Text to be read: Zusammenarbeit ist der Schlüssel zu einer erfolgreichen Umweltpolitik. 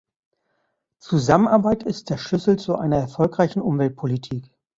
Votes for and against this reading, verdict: 2, 0, accepted